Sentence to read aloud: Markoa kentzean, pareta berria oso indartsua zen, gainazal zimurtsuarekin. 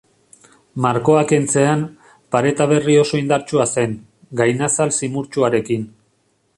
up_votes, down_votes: 3, 0